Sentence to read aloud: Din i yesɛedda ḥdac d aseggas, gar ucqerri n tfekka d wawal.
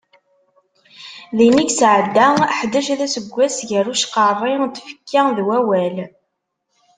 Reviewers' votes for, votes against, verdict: 2, 0, accepted